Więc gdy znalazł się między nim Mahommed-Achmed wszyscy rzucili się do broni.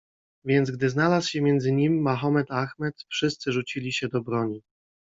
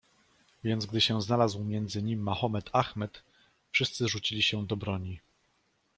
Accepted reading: first